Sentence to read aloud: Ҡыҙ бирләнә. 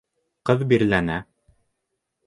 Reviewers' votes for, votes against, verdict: 2, 0, accepted